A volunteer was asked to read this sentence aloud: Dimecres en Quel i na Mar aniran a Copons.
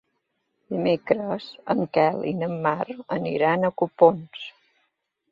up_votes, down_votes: 2, 0